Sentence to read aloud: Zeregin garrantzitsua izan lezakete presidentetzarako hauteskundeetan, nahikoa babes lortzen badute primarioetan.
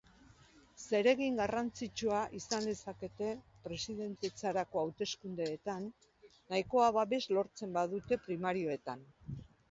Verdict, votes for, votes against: rejected, 0, 2